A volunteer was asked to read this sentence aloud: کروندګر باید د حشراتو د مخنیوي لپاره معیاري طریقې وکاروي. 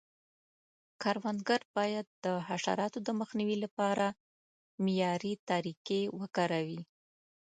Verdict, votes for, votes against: accepted, 2, 0